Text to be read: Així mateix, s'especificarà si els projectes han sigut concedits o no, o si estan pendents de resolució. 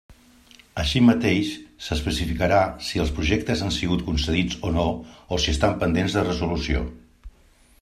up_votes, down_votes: 3, 0